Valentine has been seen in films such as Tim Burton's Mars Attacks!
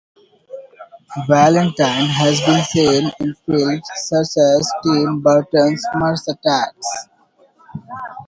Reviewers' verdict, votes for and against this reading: rejected, 0, 3